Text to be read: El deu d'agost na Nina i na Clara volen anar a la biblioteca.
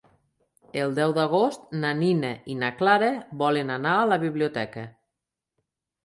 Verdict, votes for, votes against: accepted, 3, 0